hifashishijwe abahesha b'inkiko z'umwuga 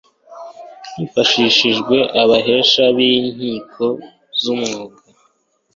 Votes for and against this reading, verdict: 2, 0, accepted